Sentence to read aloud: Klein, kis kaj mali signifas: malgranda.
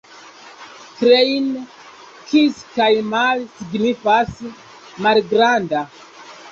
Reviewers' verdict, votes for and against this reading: accepted, 2, 0